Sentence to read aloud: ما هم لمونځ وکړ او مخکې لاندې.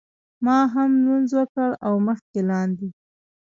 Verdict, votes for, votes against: accepted, 2, 1